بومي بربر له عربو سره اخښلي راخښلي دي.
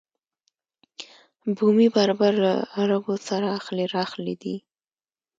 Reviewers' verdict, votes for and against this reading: accepted, 2, 0